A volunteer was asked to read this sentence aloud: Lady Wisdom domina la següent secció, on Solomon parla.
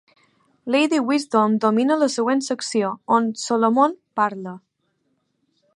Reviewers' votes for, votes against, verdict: 2, 0, accepted